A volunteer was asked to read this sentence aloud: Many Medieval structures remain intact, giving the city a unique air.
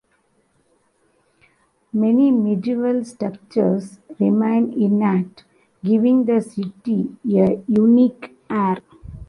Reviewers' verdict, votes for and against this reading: rejected, 1, 2